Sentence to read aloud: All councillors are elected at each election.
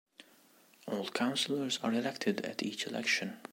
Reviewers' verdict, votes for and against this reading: accepted, 2, 0